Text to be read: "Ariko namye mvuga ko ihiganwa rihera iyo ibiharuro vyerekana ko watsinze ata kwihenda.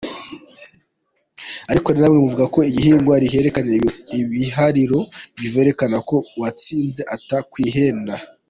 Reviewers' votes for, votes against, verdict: 0, 2, rejected